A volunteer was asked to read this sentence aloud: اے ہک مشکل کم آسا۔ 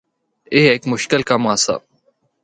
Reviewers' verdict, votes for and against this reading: accepted, 2, 0